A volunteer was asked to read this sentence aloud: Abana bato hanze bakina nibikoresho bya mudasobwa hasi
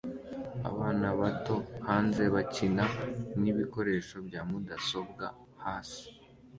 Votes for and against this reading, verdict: 2, 0, accepted